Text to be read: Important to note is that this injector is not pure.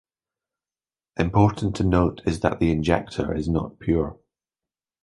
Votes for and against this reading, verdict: 1, 2, rejected